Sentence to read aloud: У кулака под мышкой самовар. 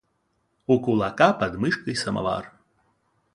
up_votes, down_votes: 2, 0